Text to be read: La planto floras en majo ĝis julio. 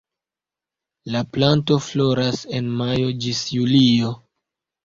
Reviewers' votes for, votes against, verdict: 2, 0, accepted